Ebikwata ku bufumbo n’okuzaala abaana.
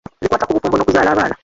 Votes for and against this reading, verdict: 0, 2, rejected